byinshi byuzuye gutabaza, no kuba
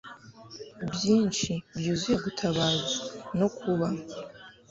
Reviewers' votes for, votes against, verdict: 2, 0, accepted